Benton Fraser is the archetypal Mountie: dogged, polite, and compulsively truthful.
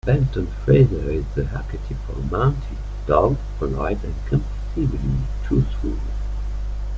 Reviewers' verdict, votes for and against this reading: accepted, 2, 1